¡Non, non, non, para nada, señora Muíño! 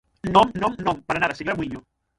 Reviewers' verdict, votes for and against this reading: rejected, 0, 6